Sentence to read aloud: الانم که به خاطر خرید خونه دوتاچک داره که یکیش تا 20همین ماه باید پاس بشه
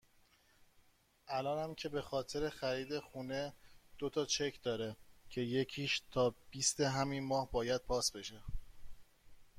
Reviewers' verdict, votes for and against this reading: rejected, 0, 2